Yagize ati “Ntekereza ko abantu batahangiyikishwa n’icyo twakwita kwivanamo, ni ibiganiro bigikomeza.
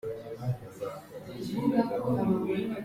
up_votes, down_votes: 0, 2